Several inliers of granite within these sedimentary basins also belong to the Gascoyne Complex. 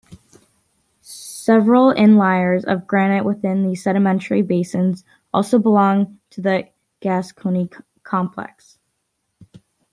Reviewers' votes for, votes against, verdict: 2, 0, accepted